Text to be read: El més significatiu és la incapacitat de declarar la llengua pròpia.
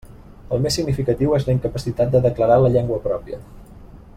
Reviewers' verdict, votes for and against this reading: accepted, 3, 0